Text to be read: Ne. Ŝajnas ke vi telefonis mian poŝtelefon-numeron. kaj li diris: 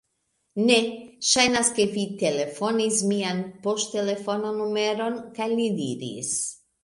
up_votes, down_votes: 2, 0